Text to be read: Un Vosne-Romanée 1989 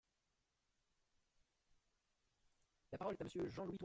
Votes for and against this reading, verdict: 0, 2, rejected